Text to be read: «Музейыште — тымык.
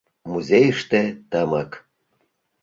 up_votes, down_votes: 2, 0